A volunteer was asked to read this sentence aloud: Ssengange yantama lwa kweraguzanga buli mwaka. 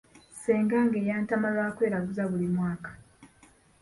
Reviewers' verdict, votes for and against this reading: accepted, 2, 1